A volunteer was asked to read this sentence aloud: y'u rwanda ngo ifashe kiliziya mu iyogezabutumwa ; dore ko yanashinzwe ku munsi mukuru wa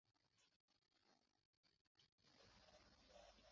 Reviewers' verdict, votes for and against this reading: rejected, 0, 2